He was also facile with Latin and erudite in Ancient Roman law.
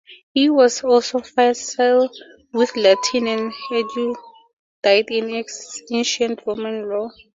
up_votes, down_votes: 4, 2